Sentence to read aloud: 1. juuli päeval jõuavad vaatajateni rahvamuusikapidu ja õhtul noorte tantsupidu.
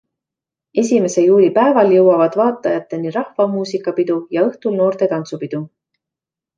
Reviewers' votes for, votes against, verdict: 0, 2, rejected